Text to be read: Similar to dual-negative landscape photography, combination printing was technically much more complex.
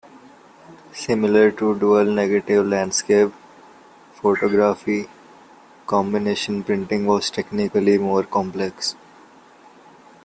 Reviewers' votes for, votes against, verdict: 1, 2, rejected